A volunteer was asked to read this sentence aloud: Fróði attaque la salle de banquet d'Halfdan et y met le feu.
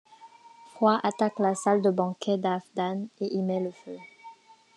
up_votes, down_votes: 1, 2